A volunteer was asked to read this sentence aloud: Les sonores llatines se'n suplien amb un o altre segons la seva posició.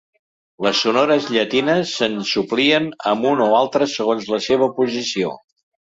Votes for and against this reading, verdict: 1, 2, rejected